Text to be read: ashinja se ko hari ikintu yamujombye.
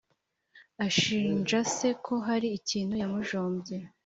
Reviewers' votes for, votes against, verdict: 3, 0, accepted